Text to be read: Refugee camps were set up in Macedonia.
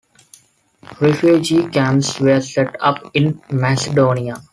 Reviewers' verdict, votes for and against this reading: accepted, 2, 1